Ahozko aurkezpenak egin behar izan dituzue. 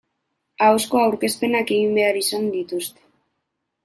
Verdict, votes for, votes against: rejected, 2, 2